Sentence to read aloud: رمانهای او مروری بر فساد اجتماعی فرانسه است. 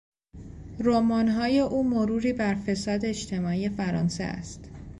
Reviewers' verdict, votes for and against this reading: rejected, 0, 2